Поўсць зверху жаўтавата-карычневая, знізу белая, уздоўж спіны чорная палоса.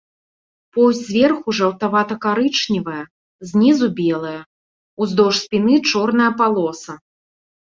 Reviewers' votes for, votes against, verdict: 3, 0, accepted